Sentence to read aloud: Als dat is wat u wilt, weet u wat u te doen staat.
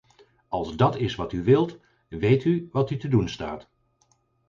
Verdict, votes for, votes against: accepted, 4, 0